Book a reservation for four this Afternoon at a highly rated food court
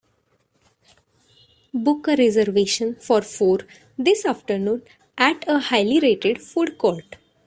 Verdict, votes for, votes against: accepted, 2, 0